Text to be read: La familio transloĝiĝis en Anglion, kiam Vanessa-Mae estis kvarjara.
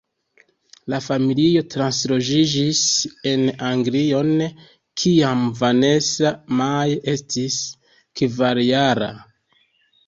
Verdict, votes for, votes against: rejected, 1, 2